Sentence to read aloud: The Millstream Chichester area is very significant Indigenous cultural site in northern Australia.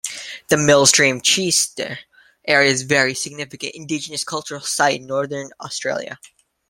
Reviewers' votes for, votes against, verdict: 2, 1, accepted